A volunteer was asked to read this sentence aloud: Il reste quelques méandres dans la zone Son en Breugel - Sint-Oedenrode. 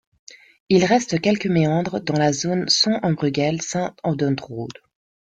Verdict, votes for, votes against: accepted, 2, 0